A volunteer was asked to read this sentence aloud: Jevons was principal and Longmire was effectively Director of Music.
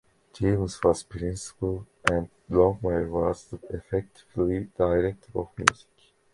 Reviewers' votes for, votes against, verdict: 1, 2, rejected